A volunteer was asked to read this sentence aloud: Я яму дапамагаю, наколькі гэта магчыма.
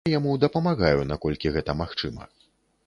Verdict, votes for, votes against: rejected, 0, 2